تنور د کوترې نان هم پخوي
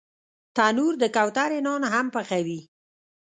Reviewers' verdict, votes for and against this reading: rejected, 1, 2